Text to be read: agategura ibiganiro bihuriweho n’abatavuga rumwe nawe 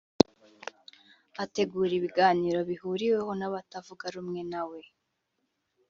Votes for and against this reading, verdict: 1, 2, rejected